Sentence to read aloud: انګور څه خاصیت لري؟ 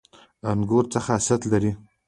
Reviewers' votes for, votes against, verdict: 2, 0, accepted